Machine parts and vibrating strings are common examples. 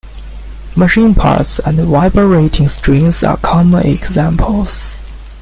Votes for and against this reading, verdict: 1, 2, rejected